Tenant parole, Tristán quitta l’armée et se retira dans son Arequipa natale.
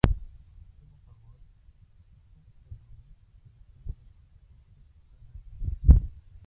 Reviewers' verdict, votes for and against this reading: rejected, 0, 2